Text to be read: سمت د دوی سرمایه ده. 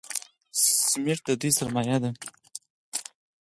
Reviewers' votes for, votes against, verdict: 4, 2, accepted